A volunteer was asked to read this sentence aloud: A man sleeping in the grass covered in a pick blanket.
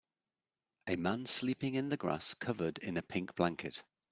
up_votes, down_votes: 0, 2